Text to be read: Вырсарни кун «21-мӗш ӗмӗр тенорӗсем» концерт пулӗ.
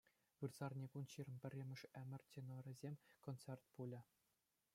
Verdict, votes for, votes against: rejected, 0, 2